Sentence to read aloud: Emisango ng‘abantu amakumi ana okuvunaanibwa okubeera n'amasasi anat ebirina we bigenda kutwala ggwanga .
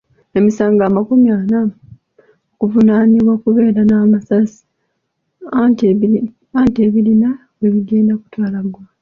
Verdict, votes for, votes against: rejected, 1, 2